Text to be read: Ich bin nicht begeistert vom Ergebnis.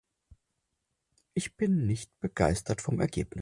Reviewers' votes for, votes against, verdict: 0, 4, rejected